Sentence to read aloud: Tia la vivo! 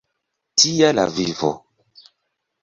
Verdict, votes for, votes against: accepted, 2, 0